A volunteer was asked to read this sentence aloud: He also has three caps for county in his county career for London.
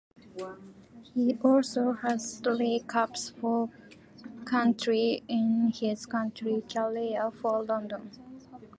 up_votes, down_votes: 0, 3